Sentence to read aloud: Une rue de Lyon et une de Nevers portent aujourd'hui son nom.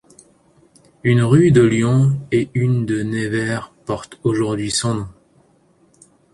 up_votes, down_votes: 1, 2